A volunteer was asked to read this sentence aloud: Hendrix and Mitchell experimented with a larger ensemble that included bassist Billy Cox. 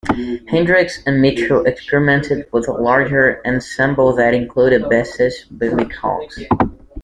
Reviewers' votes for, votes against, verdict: 1, 2, rejected